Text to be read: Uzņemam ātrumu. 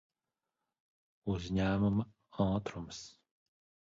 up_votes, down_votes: 0, 3